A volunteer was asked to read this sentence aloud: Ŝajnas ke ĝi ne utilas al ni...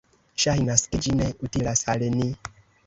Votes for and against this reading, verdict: 1, 2, rejected